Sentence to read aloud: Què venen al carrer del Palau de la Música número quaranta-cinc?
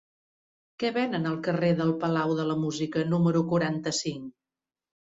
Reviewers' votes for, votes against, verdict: 3, 0, accepted